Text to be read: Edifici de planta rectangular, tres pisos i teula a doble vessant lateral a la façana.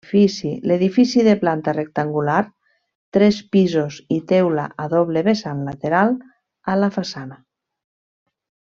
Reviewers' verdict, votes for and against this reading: rejected, 1, 2